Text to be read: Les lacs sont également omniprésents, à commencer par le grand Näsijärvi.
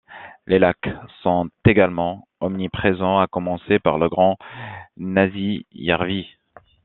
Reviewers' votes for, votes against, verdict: 2, 1, accepted